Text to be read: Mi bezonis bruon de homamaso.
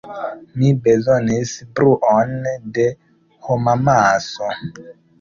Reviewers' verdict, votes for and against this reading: accepted, 2, 0